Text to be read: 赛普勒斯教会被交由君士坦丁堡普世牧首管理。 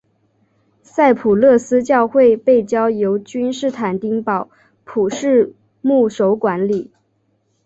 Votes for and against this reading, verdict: 3, 0, accepted